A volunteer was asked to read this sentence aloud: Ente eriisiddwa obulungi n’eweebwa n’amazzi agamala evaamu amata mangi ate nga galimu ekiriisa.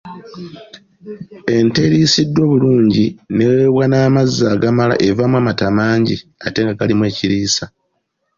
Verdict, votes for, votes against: accepted, 2, 0